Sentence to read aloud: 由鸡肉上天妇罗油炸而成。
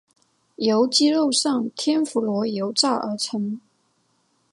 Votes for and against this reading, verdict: 3, 0, accepted